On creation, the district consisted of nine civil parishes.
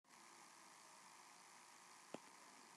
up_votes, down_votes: 0, 2